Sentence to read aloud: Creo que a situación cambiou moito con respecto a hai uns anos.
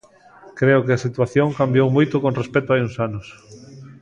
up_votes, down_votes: 3, 0